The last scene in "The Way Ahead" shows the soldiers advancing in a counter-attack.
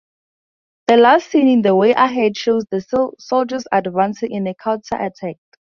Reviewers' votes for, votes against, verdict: 0, 4, rejected